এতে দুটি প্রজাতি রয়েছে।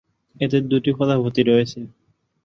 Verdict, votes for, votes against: rejected, 0, 4